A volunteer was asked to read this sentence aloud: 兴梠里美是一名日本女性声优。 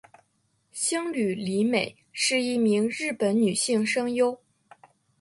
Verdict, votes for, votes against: accepted, 3, 1